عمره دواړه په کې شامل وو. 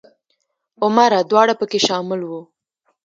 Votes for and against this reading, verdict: 1, 2, rejected